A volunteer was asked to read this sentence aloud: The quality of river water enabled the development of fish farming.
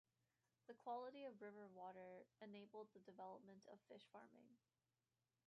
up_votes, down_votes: 2, 1